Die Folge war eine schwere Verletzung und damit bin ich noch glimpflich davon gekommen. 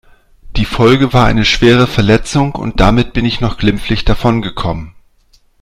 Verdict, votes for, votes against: accepted, 2, 0